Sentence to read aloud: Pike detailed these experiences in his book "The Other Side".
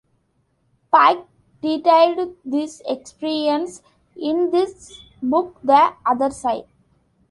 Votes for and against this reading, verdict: 2, 1, accepted